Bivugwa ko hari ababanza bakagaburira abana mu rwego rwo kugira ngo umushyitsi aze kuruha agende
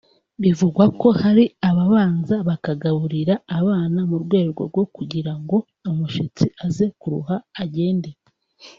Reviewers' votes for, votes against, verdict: 1, 2, rejected